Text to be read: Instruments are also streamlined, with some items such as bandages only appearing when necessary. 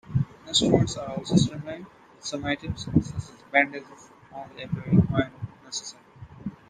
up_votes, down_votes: 0, 2